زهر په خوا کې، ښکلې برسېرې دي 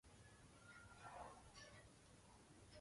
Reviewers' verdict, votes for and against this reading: accepted, 2, 0